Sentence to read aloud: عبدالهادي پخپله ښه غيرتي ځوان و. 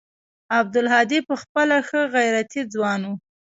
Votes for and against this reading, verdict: 2, 0, accepted